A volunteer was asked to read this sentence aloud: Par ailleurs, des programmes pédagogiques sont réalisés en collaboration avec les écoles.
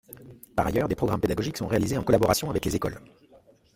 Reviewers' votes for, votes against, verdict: 2, 0, accepted